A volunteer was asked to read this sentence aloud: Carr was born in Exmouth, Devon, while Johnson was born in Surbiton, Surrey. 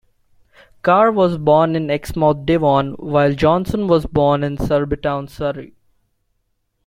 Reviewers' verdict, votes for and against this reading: accepted, 2, 0